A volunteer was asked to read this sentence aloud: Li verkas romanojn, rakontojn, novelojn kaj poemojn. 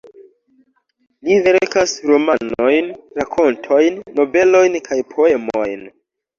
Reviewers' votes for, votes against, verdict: 0, 2, rejected